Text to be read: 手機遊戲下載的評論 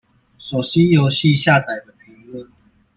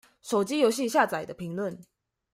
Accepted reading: second